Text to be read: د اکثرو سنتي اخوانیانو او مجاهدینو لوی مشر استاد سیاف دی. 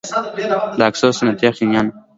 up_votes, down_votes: 3, 0